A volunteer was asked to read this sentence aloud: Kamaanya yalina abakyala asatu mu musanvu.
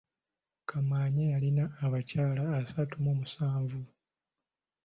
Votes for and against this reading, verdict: 2, 0, accepted